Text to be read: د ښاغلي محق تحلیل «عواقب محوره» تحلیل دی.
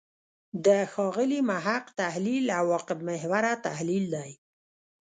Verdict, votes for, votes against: rejected, 1, 2